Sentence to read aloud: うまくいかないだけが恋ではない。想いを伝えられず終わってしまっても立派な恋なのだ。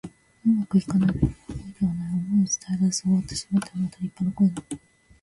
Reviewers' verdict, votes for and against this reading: rejected, 0, 2